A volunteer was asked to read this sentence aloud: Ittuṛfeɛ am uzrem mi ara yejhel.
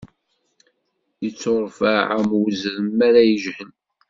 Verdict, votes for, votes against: accepted, 2, 0